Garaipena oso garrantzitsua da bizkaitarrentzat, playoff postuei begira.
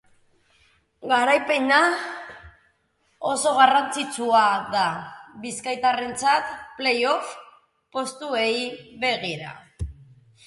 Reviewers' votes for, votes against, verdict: 0, 2, rejected